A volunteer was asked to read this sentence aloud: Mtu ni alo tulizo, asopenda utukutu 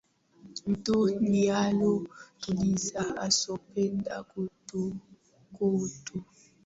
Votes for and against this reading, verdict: 0, 2, rejected